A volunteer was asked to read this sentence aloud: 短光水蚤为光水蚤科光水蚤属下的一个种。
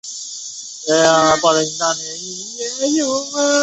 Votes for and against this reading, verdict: 1, 5, rejected